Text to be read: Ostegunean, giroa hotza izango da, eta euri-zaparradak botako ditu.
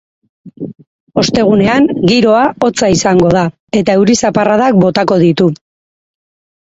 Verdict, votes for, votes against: accepted, 4, 2